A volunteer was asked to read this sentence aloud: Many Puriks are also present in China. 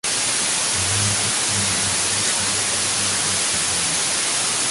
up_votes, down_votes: 0, 2